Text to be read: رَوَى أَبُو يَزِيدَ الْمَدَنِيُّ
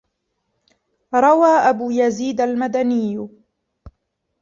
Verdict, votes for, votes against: rejected, 1, 2